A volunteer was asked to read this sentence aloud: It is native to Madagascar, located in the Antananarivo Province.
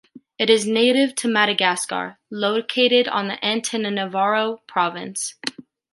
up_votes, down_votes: 0, 2